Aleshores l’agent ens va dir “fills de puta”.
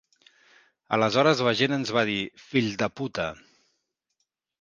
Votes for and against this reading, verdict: 0, 2, rejected